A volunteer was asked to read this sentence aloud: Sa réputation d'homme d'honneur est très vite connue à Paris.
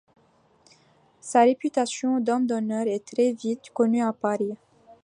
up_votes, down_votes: 2, 0